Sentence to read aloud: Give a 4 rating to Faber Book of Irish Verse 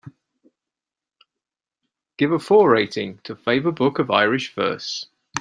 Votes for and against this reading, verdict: 0, 2, rejected